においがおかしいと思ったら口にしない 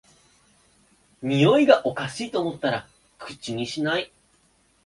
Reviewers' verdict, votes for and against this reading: accepted, 5, 0